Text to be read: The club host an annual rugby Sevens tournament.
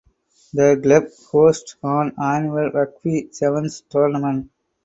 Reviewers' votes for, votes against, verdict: 2, 4, rejected